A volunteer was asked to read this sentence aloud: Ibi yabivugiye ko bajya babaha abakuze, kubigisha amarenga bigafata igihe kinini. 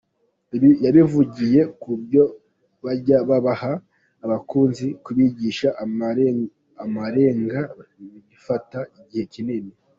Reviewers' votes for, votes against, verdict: 1, 2, rejected